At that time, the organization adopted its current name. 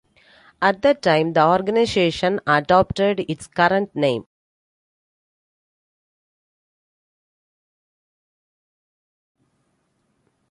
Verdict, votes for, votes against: accepted, 2, 1